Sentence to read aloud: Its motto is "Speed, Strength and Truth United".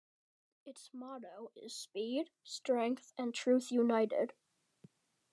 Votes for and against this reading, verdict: 2, 0, accepted